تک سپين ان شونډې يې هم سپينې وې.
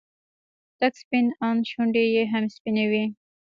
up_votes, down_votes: 2, 0